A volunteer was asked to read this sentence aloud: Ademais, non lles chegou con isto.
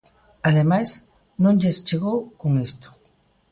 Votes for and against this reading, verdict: 2, 0, accepted